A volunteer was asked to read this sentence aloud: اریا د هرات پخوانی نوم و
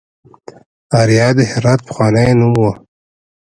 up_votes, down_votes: 0, 2